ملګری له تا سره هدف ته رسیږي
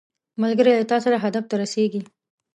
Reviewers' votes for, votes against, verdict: 2, 0, accepted